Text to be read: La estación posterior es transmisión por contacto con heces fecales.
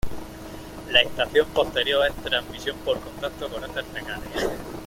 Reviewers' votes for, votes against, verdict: 2, 1, accepted